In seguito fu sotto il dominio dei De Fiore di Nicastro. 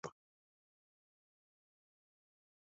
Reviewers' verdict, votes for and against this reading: rejected, 0, 3